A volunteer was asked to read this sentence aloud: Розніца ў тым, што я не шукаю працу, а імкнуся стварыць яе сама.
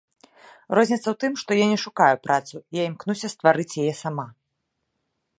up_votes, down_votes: 0, 2